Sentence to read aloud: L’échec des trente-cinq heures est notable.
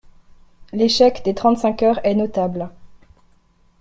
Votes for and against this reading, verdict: 2, 0, accepted